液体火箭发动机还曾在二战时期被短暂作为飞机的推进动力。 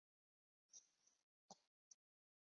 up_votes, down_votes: 0, 2